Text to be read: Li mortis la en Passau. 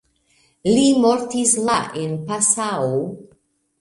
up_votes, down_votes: 2, 1